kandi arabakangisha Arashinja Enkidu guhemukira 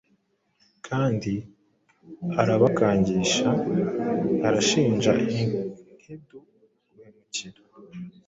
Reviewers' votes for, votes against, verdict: 1, 2, rejected